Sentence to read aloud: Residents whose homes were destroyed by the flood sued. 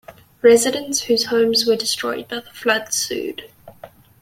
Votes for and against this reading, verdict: 2, 0, accepted